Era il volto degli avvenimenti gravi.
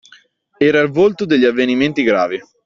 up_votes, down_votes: 2, 0